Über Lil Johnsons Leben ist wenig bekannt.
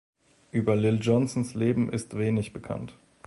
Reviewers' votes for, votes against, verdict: 2, 0, accepted